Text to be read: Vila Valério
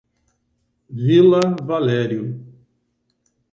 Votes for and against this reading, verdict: 6, 0, accepted